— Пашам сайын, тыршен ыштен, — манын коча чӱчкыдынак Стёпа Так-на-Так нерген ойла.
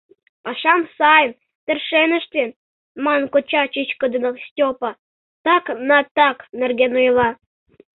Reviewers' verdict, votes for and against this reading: rejected, 1, 2